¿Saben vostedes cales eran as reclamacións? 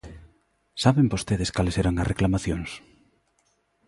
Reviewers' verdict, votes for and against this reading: accepted, 2, 0